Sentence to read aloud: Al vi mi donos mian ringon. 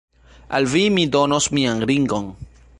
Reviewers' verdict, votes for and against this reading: rejected, 0, 2